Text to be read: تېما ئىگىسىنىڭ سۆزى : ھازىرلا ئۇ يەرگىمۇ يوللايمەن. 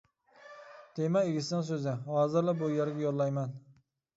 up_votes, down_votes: 1, 2